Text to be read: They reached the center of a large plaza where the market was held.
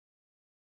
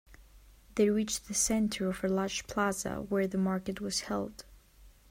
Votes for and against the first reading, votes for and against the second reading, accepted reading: 0, 2, 4, 0, second